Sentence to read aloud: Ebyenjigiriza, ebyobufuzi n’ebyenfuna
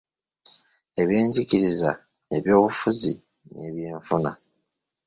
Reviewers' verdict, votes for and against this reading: accepted, 2, 0